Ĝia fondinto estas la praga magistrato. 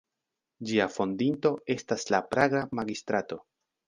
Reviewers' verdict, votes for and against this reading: accepted, 3, 0